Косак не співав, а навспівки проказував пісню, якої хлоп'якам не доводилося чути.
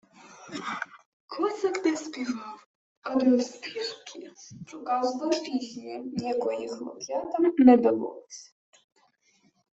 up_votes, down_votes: 0, 2